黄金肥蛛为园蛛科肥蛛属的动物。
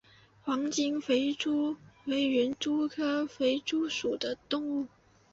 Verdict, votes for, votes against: accepted, 4, 0